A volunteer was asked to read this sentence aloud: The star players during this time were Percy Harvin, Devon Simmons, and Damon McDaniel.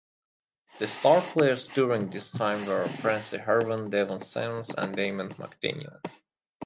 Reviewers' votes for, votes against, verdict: 2, 2, rejected